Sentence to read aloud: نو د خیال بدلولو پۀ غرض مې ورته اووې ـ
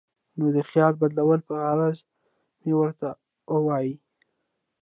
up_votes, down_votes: 0, 2